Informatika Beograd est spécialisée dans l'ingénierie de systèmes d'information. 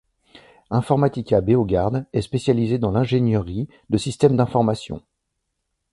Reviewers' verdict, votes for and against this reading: rejected, 0, 2